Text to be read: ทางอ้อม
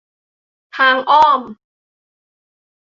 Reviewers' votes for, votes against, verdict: 2, 0, accepted